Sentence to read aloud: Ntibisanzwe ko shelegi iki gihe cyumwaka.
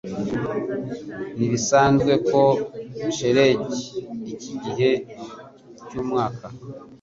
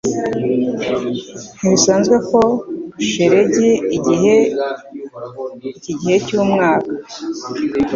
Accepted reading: first